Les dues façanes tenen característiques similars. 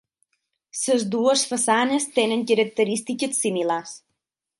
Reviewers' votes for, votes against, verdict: 3, 6, rejected